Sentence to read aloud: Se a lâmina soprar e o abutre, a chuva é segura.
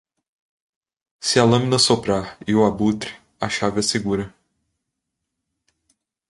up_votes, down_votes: 1, 2